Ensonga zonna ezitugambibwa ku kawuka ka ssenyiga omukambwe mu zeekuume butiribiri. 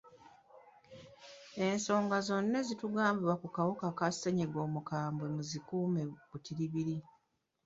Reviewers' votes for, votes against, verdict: 1, 2, rejected